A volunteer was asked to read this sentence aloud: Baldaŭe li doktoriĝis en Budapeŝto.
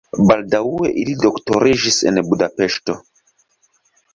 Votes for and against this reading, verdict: 4, 5, rejected